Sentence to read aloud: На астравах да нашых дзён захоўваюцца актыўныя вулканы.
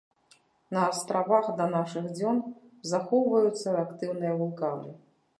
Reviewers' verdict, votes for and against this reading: accepted, 2, 0